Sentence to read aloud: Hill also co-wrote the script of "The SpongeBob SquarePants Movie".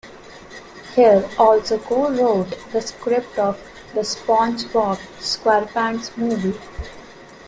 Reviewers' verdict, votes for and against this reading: accepted, 2, 0